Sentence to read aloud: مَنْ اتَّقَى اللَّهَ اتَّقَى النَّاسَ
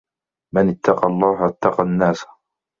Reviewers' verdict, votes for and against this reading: accepted, 2, 0